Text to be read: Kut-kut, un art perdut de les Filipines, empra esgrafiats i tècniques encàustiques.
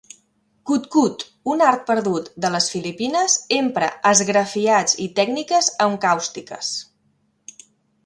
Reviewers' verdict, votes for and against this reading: accepted, 2, 1